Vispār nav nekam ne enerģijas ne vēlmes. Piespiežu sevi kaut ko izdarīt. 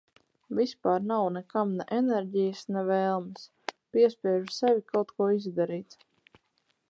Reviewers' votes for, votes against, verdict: 4, 0, accepted